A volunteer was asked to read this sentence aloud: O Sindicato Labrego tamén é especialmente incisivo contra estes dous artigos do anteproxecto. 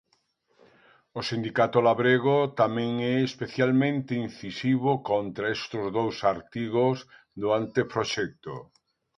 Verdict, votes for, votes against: rejected, 0, 2